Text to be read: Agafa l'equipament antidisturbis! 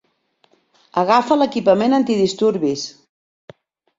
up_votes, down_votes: 2, 0